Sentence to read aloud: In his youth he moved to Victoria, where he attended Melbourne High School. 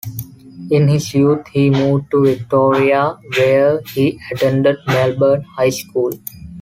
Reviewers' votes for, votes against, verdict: 2, 1, accepted